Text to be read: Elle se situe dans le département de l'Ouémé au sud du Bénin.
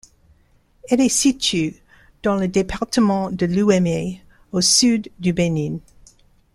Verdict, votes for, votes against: rejected, 1, 2